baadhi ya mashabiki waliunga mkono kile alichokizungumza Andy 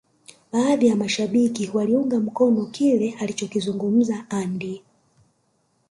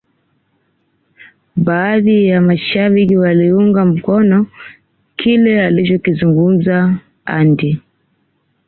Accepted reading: second